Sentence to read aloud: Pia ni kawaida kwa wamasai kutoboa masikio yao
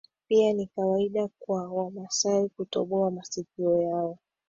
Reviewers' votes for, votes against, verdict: 2, 1, accepted